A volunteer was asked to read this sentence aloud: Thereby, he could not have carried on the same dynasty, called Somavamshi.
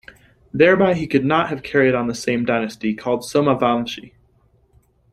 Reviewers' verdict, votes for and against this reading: rejected, 0, 2